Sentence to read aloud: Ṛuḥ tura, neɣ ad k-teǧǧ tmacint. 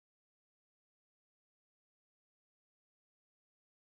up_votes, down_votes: 0, 2